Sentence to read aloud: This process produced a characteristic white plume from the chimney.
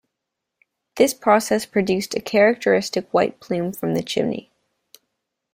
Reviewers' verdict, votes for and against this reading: rejected, 1, 2